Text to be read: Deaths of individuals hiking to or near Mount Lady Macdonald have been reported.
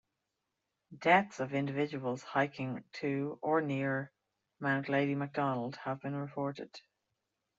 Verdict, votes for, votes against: accepted, 2, 0